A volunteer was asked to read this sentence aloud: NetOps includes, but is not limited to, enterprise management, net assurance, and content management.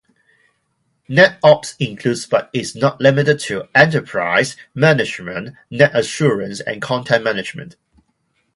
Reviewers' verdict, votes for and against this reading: accepted, 2, 0